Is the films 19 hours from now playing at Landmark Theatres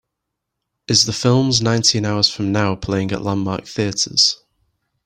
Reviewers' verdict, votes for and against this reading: rejected, 0, 2